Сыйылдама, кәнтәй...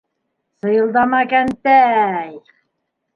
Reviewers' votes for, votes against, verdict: 1, 3, rejected